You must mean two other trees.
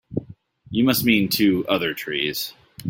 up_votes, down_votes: 2, 0